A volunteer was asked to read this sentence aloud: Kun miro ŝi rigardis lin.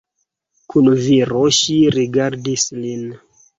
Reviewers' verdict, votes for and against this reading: rejected, 2, 4